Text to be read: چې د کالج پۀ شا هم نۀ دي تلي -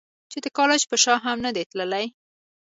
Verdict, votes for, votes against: accepted, 2, 0